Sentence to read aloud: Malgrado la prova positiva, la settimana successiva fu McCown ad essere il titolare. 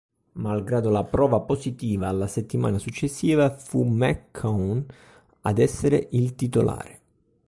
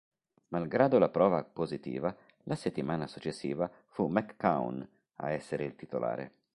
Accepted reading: first